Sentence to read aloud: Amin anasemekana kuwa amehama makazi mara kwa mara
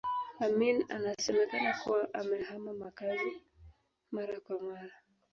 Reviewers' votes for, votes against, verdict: 2, 0, accepted